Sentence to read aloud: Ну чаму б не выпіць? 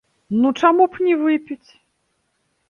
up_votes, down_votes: 0, 2